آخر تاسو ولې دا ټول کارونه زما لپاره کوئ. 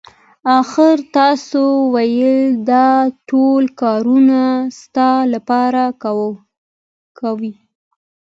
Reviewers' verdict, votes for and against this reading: rejected, 0, 2